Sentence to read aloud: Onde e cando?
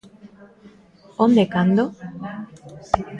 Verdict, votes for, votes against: rejected, 1, 2